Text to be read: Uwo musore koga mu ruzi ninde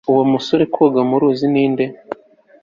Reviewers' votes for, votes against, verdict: 2, 0, accepted